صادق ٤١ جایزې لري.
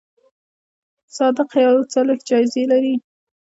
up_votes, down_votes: 0, 2